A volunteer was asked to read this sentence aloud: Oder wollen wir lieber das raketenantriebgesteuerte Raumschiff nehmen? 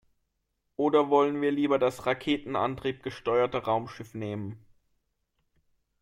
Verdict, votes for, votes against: accepted, 2, 0